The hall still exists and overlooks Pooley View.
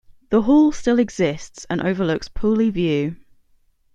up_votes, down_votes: 2, 0